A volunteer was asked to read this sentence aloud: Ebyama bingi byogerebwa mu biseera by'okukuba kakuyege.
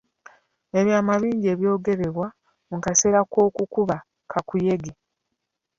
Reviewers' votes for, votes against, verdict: 1, 2, rejected